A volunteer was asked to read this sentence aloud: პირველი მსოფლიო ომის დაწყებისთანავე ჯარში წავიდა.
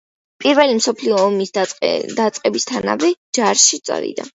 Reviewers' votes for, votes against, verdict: 2, 1, accepted